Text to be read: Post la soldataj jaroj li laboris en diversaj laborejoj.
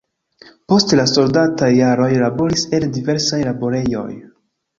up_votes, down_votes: 1, 2